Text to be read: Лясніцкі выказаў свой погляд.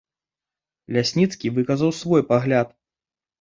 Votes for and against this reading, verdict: 0, 2, rejected